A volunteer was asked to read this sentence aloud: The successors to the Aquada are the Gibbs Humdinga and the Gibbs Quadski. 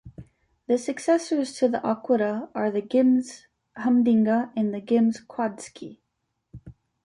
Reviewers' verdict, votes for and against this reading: rejected, 0, 2